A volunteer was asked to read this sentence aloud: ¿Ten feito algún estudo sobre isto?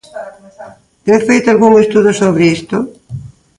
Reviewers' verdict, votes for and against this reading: rejected, 0, 2